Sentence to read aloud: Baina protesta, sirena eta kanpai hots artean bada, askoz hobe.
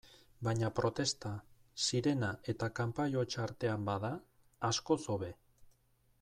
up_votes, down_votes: 2, 0